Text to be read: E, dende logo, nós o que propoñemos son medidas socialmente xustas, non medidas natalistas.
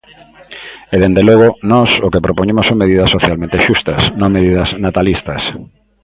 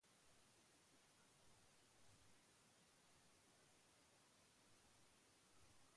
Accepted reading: first